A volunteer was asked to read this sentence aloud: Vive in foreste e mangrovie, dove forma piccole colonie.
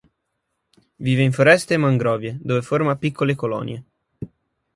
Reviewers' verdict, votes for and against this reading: accepted, 3, 0